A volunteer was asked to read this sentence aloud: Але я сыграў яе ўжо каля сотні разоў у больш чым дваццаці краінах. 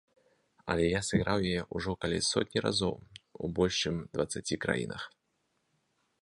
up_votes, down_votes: 3, 0